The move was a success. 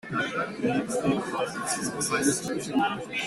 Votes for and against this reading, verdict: 0, 2, rejected